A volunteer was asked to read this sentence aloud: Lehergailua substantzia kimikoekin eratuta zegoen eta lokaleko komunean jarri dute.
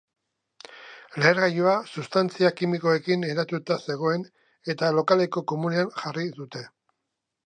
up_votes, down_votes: 2, 1